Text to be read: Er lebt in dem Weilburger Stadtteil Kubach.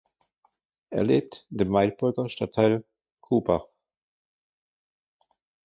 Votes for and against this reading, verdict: 2, 1, accepted